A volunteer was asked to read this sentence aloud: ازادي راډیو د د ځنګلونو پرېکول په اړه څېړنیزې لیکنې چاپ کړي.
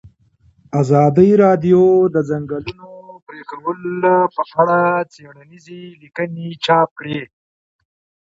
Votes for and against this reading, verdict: 2, 1, accepted